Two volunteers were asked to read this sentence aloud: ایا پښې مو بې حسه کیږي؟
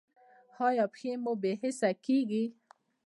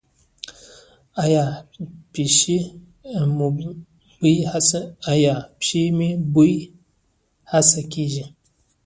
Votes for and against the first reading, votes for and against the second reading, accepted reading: 2, 0, 0, 2, first